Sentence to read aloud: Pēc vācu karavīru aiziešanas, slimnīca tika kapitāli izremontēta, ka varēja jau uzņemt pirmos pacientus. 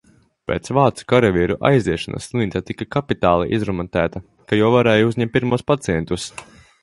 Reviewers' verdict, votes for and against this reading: rejected, 0, 2